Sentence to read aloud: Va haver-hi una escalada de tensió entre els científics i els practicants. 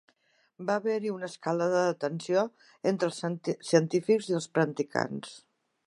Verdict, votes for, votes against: rejected, 0, 2